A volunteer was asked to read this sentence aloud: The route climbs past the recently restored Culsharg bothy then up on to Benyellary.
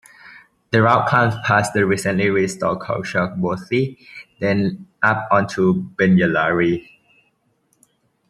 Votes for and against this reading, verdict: 2, 1, accepted